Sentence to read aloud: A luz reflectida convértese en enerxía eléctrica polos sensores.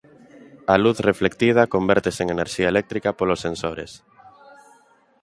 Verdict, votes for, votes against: accepted, 2, 0